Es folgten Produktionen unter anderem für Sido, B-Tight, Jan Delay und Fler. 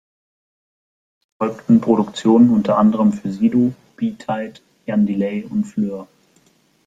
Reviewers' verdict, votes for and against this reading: rejected, 1, 2